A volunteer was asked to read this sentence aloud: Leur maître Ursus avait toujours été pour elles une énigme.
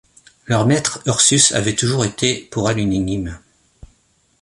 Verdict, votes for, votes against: rejected, 1, 2